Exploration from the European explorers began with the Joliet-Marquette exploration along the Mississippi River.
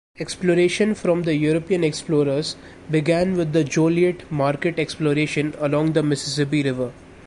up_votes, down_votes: 2, 0